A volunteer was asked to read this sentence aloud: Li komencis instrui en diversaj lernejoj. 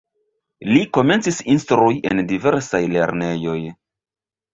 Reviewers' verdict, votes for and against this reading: rejected, 0, 2